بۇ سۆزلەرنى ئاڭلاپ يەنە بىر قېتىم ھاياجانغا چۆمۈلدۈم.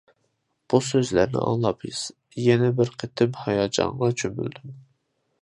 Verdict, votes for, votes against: accepted, 2, 1